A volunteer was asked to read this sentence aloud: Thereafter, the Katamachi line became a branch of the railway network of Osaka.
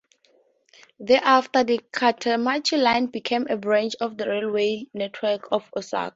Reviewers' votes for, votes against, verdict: 0, 2, rejected